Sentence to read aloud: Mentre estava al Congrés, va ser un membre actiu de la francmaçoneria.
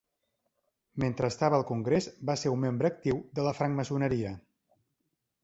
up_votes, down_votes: 2, 0